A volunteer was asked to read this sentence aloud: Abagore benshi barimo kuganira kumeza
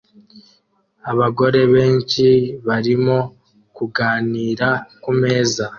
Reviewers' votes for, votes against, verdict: 2, 0, accepted